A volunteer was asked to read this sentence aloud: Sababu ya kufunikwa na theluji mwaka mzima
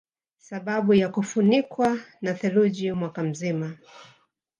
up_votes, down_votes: 2, 0